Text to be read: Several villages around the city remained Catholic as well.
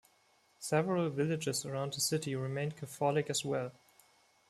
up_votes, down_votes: 2, 0